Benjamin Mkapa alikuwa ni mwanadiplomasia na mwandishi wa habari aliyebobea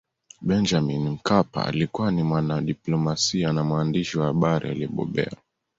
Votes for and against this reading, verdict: 2, 0, accepted